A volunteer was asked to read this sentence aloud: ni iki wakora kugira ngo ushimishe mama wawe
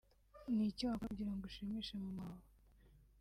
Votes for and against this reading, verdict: 3, 0, accepted